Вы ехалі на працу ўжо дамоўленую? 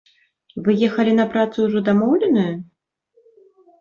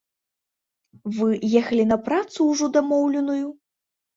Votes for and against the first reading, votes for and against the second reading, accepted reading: 1, 2, 2, 0, second